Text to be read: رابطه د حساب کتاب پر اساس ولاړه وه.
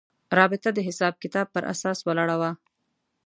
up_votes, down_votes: 3, 0